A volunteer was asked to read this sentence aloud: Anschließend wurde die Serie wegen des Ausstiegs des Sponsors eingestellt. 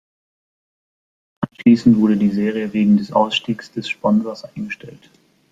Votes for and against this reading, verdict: 1, 2, rejected